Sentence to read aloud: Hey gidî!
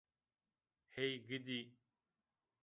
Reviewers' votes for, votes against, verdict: 0, 2, rejected